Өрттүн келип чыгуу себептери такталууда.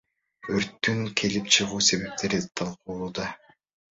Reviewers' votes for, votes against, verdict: 2, 0, accepted